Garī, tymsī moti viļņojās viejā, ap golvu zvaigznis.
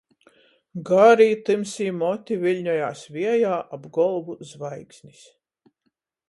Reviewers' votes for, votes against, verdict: 14, 0, accepted